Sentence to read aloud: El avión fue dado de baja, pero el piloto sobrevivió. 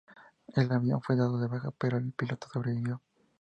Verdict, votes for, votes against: accepted, 2, 0